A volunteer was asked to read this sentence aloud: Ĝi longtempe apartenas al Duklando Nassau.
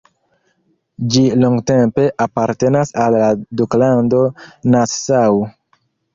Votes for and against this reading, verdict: 2, 0, accepted